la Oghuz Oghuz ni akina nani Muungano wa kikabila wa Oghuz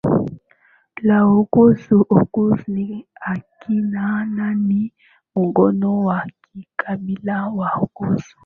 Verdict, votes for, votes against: rejected, 0, 2